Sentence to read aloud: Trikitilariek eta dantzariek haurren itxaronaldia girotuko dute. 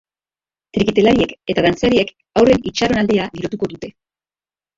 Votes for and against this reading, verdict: 2, 0, accepted